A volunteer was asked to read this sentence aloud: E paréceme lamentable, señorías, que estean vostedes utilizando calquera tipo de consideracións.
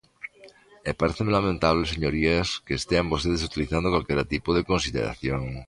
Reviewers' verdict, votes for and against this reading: rejected, 1, 2